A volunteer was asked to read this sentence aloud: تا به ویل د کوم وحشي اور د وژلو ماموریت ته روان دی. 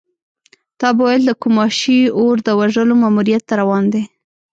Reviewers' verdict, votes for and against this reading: rejected, 0, 2